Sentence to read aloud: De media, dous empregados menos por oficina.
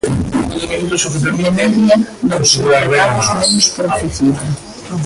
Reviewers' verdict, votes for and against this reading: rejected, 0, 2